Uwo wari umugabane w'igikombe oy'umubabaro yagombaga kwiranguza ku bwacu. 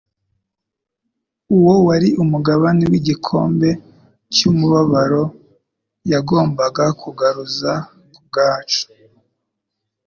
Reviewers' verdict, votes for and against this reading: rejected, 1, 2